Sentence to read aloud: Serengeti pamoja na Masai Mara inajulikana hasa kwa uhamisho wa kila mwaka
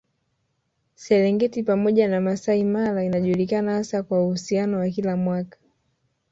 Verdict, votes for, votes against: rejected, 1, 3